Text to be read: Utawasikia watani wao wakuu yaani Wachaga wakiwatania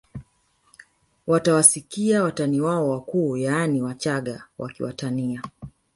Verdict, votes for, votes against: rejected, 2, 3